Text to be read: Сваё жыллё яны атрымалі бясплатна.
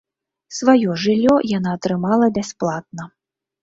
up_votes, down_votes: 1, 2